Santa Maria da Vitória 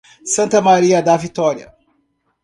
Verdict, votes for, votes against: accepted, 2, 0